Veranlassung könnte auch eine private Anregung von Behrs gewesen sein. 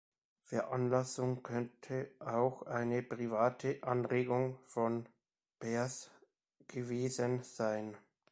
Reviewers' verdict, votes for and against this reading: accepted, 2, 0